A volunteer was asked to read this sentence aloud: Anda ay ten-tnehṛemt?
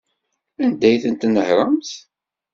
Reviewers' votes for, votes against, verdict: 2, 0, accepted